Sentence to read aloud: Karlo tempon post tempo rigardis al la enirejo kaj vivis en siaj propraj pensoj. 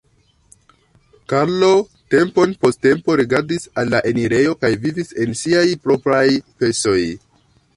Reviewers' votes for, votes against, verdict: 1, 2, rejected